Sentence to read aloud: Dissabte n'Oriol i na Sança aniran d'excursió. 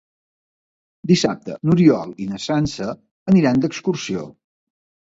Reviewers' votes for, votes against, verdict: 2, 0, accepted